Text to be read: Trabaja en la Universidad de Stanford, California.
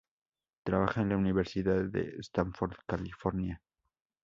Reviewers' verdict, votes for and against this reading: rejected, 2, 2